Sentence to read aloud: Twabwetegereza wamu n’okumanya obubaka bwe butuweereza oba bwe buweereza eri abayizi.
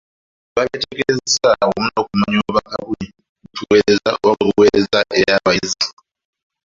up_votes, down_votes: 0, 2